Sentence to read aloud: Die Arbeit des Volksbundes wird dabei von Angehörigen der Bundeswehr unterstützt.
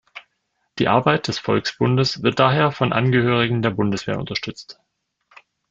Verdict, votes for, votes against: rejected, 0, 2